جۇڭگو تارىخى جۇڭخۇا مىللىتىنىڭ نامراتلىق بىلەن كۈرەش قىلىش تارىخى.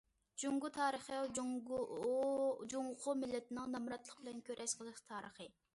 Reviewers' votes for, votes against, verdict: 0, 2, rejected